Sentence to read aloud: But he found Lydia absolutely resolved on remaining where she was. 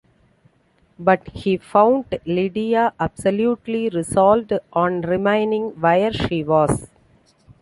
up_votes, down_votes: 2, 0